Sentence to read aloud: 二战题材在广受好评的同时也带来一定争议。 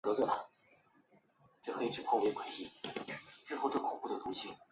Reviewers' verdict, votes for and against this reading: rejected, 1, 2